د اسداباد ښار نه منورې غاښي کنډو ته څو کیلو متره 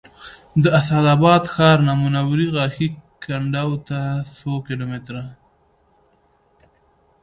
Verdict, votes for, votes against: rejected, 0, 2